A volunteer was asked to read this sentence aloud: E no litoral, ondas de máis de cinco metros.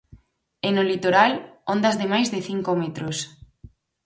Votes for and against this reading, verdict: 4, 0, accepted